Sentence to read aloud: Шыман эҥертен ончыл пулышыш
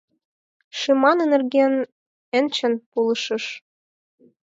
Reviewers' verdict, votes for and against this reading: accepted, 4, 0